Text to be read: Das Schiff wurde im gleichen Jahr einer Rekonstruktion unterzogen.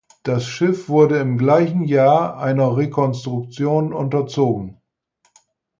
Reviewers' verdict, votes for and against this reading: accepted, 4, 0